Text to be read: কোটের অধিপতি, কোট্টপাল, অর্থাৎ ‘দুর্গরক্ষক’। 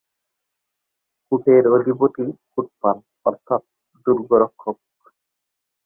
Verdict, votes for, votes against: rejected, 0, 2